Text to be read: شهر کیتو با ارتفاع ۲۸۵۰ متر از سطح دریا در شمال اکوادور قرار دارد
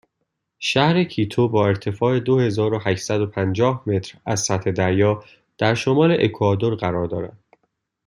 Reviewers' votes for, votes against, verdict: 0, 2, rejected